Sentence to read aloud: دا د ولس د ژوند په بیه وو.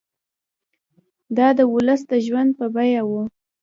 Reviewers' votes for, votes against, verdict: 0, 2, rejected